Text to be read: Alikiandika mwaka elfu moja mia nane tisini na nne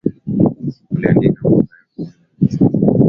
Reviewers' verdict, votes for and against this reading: rejected, 0, 2